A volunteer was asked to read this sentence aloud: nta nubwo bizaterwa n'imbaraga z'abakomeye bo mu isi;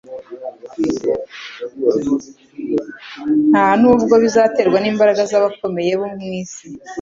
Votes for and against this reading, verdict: 2, 0, accepted